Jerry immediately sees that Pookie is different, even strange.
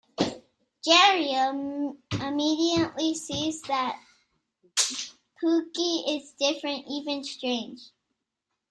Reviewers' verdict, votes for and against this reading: rejected, 1, 2